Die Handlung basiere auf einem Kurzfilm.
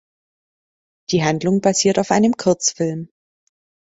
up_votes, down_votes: 0, 2